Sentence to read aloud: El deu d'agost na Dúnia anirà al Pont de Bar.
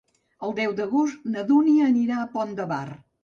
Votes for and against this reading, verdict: 1, 2, rejected